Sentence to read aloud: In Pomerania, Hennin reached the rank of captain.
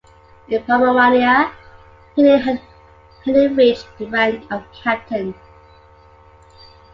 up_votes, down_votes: 0, 2